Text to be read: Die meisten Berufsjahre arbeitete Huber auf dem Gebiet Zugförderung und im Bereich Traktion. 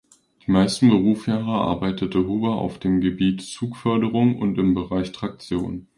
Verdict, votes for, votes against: rejected, 0, 2